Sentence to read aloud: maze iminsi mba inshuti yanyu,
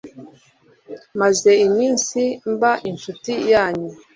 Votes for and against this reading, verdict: 2, 0, accepted